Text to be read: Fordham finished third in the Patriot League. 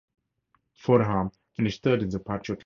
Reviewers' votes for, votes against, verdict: 2, 4, rejected